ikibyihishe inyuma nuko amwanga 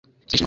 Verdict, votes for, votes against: rejected, 1, 2